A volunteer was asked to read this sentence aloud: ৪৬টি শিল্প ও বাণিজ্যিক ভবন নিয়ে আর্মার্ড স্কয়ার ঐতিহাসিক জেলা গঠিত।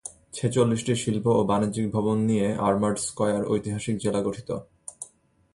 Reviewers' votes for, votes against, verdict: 0, 2, rejected